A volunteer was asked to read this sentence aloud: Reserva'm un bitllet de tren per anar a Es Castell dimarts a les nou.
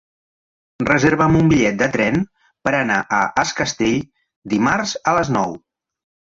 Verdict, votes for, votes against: accepted, 3, 0